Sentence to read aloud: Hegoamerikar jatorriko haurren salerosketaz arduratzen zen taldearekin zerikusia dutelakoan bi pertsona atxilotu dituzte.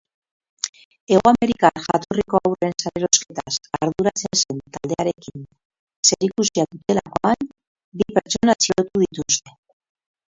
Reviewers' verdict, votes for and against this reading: rejected, 0, 2